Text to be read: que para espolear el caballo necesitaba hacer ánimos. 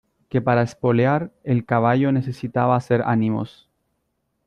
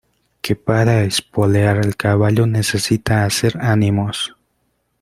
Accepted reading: first